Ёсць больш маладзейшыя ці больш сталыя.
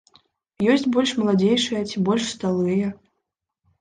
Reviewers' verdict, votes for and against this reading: rejected, 0, 2